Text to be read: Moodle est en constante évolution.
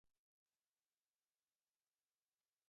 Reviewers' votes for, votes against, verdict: 0, 2, rejected